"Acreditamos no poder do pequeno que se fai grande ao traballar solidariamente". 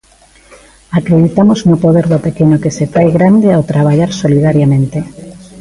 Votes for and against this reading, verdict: 2, 0, accepted